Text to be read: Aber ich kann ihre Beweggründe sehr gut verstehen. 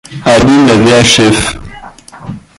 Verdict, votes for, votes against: rejected, 0, 2